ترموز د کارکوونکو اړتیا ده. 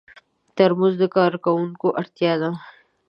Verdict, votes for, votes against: accepted, 2, 0